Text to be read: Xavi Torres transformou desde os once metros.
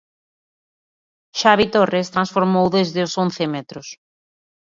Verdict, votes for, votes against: accepted, 2, 0